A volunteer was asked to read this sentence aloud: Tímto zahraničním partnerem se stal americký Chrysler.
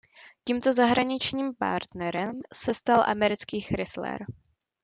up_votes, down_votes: 0, 2